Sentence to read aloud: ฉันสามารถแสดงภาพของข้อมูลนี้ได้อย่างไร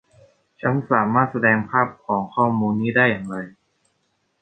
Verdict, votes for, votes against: accepted, 2, 0